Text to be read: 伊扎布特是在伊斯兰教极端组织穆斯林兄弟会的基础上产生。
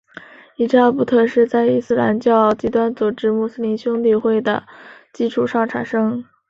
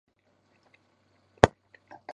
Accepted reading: first